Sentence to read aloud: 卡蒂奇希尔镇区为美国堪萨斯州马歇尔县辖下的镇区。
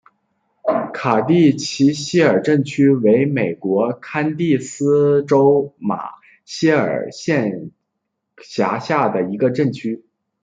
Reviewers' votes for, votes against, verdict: 0, 2, rejected